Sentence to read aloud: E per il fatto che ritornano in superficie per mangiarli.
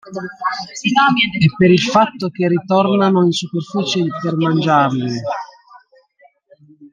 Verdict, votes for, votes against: rejected, 1, 2